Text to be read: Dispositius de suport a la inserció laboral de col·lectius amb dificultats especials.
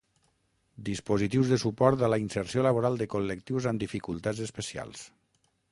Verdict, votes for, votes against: rejected, 3, 6